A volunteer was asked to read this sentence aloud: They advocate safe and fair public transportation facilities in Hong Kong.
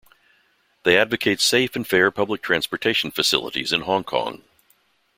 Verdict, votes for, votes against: rejected, 1, 2